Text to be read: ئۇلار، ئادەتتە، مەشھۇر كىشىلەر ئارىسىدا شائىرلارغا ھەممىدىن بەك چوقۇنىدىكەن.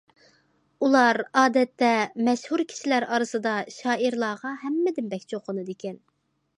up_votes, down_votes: 2, 1